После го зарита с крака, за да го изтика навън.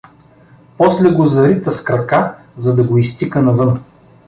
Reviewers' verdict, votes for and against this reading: accepted, 2, 0